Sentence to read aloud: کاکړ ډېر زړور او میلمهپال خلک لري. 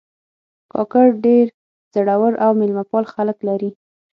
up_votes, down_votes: 6, 0